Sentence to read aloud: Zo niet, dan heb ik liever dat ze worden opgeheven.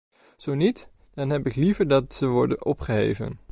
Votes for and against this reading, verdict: 2, 0, accepted